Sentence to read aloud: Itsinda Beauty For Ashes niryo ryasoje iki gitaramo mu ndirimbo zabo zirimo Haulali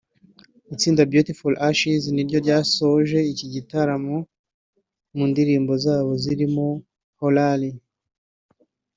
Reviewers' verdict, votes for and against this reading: accepted, 2, 1